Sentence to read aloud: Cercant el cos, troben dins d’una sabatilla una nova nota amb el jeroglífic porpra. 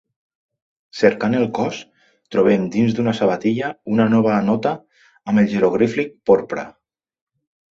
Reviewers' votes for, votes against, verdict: 0, 2, rejected